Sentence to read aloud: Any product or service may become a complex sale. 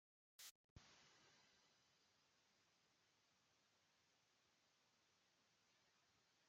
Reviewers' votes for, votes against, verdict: 0, 2, rejected